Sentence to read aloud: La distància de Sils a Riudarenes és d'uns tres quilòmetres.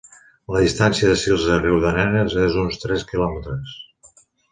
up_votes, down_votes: 2, 0